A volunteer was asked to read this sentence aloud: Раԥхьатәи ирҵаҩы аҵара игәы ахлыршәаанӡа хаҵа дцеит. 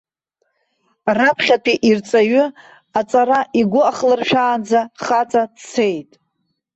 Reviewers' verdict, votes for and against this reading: accepted, 2, 0